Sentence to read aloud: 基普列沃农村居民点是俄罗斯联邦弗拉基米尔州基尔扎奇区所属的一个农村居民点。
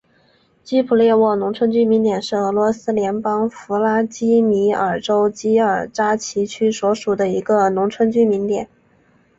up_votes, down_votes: 2, 0